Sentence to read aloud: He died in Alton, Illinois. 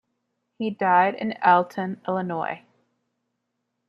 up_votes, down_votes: 2, 0